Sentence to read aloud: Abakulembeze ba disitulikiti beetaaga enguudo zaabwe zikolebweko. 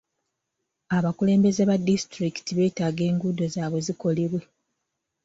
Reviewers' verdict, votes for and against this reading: rejected, 2, 3